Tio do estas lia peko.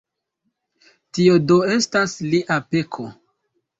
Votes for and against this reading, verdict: 2, 1, accepted